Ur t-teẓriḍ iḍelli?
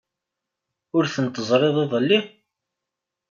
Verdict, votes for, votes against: rejected, 1, 2